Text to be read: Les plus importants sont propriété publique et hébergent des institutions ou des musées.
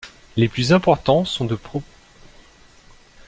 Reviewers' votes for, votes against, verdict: 0, 2, rejected